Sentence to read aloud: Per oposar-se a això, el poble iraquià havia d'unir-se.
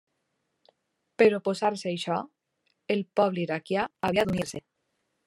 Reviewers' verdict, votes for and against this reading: rejected, 1, 2